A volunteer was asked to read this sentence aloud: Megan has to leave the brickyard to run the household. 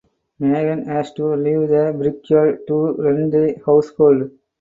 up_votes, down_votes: 2, 2